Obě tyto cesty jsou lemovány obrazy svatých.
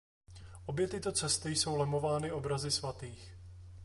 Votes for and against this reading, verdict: 2, 0, accepted